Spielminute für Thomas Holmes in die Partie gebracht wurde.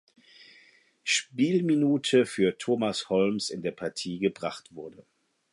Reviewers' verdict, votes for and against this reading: rejected, 0, 4